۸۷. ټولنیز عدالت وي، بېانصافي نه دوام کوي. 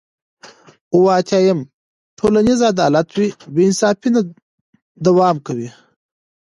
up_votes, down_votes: 0, 2